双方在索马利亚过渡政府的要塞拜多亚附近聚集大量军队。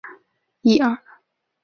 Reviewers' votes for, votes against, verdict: 0, 2, rejected